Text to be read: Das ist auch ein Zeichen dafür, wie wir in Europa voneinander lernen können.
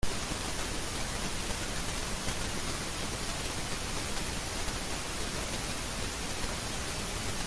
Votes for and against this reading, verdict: 0, 2, rejected